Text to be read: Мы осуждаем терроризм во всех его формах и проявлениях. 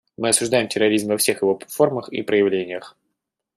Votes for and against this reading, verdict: 2, 1, accepted